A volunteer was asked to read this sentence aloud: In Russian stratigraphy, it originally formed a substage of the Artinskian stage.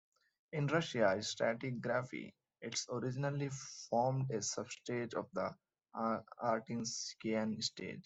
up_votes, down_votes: 1, 2